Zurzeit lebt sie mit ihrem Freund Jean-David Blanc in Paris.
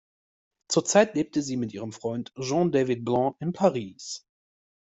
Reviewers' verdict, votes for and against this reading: rejected, 0, 2